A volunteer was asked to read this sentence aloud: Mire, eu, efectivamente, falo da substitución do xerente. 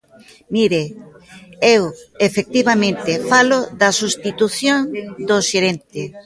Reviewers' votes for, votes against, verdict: 0, 2, rejected